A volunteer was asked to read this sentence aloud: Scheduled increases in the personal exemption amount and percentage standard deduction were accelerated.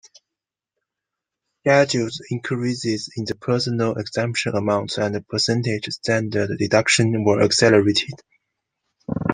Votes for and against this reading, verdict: 2, 0, accepted